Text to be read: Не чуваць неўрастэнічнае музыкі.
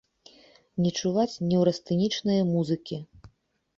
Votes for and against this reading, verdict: 2, 0, accepted